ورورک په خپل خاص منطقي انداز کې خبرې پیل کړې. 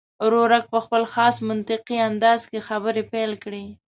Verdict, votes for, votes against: accepted, 2, 0